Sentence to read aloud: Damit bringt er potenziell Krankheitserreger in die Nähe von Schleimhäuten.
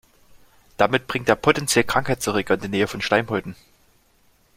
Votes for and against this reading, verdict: 2, 0, accepted